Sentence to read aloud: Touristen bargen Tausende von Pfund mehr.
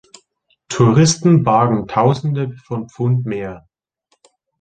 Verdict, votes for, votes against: accepted, 2, 0